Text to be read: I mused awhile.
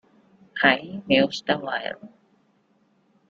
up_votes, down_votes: 1, 2